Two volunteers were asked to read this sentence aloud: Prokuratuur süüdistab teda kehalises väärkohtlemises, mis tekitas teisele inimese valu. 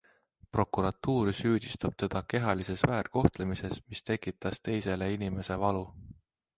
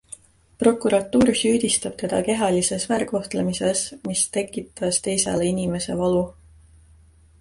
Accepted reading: first